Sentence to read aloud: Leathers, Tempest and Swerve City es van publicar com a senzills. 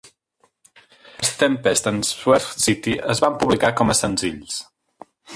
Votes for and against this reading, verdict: 0, 2, rejected